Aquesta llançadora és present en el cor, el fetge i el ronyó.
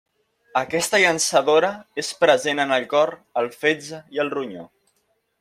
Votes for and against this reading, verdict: 2, 0, accepted